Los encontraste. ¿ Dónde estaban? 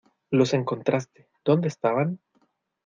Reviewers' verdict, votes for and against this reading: accepted, 2, 0